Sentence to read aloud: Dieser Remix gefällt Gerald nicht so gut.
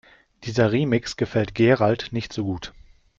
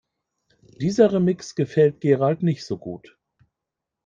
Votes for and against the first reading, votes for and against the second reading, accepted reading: 2, 0, 1, 2, first